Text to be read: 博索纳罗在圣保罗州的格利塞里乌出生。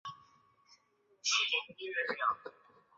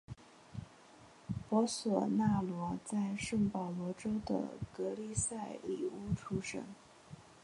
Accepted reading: second